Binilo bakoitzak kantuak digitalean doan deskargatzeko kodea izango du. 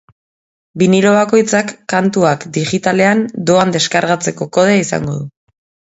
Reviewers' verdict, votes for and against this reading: accepted, 2, 0